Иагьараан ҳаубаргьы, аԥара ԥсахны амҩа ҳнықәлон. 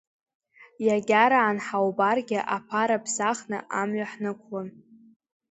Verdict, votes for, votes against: accepted, 2, 0